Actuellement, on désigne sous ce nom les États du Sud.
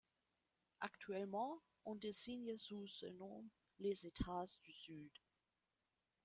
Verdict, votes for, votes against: accepted, 2, 0